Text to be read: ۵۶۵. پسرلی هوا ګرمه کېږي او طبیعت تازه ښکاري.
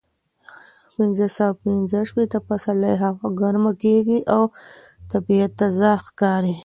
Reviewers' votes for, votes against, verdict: 0, 2, rejected